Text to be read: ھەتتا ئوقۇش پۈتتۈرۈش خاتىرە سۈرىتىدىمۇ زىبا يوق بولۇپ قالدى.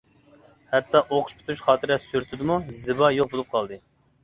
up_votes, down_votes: 2, 0